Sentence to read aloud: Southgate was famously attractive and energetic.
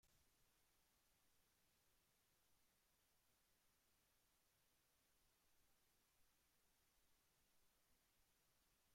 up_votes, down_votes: 1, 2